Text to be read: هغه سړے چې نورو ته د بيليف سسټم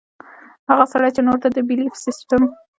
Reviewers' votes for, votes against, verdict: 2, 0, accepted